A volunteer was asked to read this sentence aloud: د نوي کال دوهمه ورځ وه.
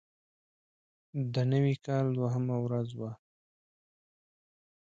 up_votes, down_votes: 2, 1